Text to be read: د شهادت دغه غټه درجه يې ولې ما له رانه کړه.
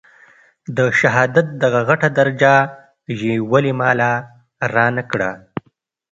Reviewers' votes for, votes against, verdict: 2, 0, accepted